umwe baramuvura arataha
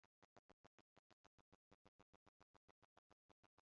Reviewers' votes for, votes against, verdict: 0, 2, rejected